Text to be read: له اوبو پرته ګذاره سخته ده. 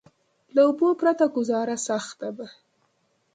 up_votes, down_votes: 2, 0